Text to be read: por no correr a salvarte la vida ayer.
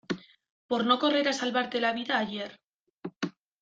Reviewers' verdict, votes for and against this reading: accepted, 2, 0